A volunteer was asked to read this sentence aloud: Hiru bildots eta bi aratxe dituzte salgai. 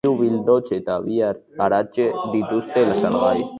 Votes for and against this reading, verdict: 2, 4, rejected